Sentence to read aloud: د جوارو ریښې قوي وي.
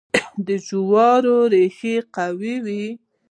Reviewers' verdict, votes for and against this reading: rejected, 0, 2